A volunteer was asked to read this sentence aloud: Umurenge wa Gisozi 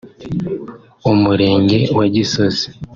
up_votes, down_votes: 3, 0